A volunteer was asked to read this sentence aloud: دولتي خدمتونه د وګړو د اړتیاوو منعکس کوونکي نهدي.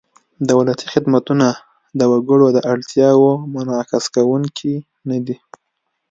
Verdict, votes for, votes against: accepted, 2, 0